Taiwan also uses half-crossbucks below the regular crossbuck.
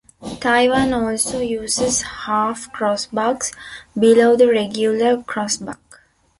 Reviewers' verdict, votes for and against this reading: accepted, 2, 1